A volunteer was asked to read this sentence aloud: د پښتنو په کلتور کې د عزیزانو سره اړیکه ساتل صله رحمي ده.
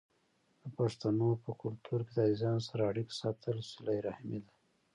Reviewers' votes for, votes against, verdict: 0, 2, rejected